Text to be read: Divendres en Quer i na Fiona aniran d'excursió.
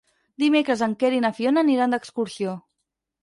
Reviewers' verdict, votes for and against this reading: rejected, 0, 4